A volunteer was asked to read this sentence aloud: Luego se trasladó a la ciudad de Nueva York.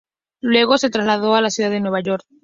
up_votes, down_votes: 2, 0